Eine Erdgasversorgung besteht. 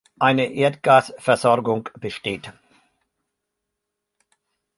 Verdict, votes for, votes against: accepted, 3, 0